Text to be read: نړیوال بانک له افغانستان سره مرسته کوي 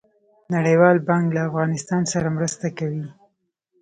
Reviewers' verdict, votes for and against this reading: accepted, 2, 1